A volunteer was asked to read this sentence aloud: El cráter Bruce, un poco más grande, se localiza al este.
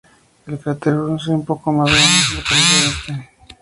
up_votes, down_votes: 0, 2